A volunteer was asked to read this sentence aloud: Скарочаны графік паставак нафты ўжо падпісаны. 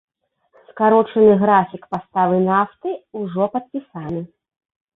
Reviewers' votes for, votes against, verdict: 0, 2, rejected